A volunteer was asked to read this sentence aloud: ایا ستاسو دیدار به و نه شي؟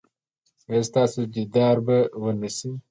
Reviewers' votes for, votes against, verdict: 2, 0, accepted